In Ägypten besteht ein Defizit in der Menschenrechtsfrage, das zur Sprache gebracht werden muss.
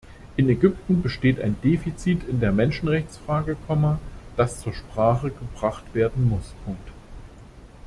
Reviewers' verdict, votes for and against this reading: rejected, 0, 2